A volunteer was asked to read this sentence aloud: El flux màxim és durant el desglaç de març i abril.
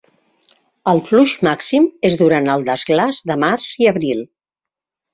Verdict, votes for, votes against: rejected, 1, 2